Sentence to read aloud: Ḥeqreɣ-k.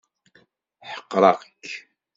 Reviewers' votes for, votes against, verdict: 2, 0, accepted